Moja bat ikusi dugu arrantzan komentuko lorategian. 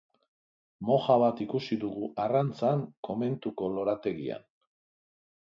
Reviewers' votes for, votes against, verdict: 2, 0, accepted